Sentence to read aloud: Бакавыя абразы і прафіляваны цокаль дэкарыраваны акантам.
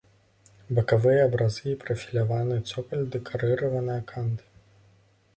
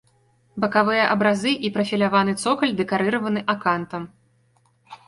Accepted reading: second